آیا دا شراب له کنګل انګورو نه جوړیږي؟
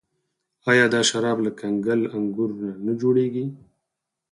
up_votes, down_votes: 2, 4